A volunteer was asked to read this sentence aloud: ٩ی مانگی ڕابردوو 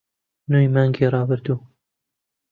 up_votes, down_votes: 0, 2